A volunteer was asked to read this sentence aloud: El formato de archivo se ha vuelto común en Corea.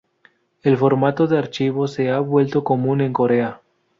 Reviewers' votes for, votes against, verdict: 4, 0, accepted